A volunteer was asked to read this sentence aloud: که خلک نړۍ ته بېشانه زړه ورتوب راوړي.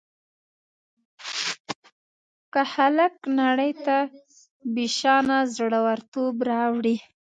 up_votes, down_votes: 1, 2